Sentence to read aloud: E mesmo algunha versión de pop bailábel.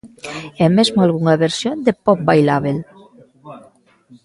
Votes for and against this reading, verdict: 0, 2, rejected